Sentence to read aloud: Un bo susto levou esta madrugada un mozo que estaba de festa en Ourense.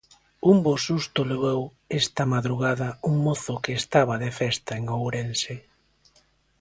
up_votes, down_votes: 2, 0